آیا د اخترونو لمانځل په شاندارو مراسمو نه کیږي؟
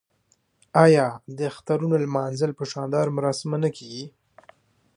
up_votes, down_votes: 2, 1